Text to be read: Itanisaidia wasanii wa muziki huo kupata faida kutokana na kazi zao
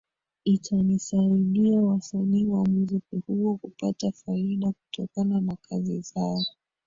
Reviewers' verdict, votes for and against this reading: rejected, 1, 2